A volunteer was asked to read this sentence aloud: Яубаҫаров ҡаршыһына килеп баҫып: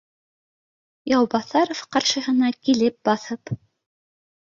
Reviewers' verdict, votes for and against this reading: accepted, 2, 0